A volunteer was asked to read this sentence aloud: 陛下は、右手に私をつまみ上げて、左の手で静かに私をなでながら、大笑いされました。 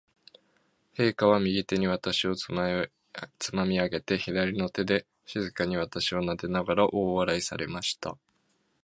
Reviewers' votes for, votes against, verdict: 0, 2, rejected